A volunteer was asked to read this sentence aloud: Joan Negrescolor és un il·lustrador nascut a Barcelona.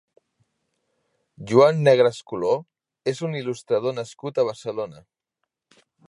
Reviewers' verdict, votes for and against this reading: accepted, 2, 1